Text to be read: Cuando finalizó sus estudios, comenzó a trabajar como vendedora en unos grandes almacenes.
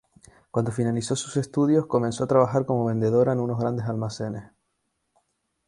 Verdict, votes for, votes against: rejected, 2, 2